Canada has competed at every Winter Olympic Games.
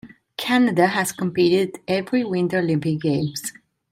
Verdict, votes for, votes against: rejected, 1, 2